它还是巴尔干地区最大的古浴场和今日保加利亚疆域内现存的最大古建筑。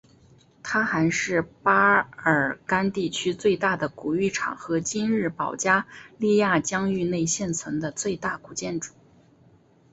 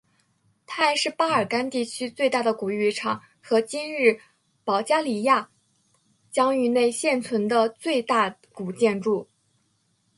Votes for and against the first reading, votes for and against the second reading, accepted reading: 1, 2, 4, 1, second